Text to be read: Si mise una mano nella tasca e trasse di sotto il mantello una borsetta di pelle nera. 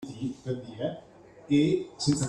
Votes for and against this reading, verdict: 0, 2, rejected